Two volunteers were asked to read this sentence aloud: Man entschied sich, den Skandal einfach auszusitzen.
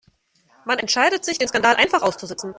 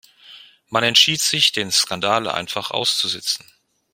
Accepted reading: second